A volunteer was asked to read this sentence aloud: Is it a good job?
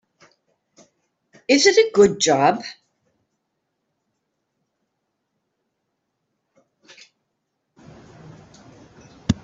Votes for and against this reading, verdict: 2, 0, accepted